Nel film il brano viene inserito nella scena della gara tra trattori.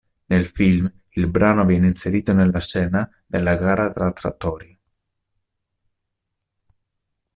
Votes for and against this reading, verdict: 2, 0, accepted